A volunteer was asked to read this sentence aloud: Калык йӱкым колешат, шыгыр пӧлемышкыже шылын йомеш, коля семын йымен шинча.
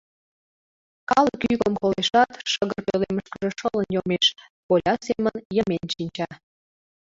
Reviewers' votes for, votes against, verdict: 0, 2, rejected